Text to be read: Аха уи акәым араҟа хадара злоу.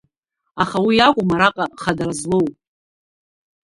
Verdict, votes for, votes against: rejected, 0, 2